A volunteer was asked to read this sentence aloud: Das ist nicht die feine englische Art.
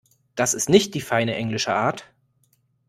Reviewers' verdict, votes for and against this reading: accepted, 2, 0